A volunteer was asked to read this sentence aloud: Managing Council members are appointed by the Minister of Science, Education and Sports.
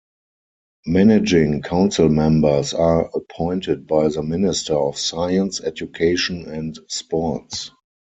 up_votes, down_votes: 4, 0